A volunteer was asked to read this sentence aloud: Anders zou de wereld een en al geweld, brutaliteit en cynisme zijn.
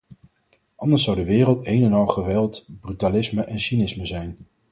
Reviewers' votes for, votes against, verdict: 0, 4, rejected